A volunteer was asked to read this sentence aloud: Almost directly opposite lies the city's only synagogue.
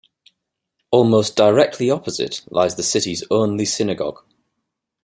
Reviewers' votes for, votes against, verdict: 13, 0, accepted